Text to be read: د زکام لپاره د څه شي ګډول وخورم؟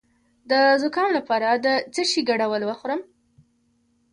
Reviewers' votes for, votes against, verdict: 1, 2, rejected